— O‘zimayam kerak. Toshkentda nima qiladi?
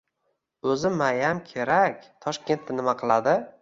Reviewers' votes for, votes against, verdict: 1, 2, rejected